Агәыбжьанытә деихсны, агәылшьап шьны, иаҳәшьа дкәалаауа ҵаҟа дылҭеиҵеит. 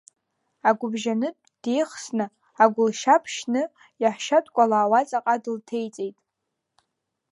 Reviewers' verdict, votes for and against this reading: rejected, 1, 2